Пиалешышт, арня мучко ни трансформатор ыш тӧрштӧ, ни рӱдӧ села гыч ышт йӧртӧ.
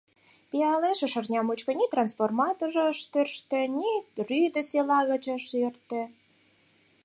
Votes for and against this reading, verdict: 2, 4, rejected